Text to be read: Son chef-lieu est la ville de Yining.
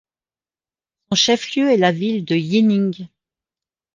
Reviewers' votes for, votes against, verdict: 0, 2, rejected